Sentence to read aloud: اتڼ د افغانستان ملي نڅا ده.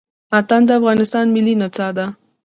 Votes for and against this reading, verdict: 2, 0, accepted